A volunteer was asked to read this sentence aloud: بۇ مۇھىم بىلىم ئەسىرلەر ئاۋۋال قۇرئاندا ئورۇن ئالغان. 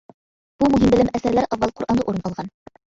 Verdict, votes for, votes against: rejected, 1, 2